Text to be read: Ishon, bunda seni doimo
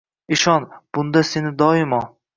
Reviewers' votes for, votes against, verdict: 2, 0, accepted